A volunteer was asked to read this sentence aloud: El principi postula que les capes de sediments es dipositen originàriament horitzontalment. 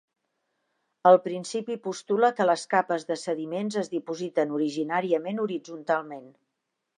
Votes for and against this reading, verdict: 2, 0, accepted